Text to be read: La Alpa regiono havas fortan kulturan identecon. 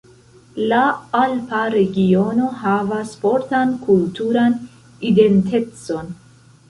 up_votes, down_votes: 1, 2